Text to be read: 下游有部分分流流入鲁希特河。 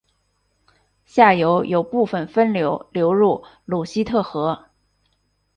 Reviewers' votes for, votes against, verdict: 6, 0, accepted